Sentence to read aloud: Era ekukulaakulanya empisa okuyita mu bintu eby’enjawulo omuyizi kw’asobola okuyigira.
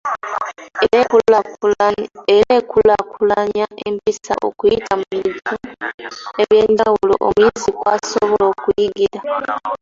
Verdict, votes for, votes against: rejected, 1, 2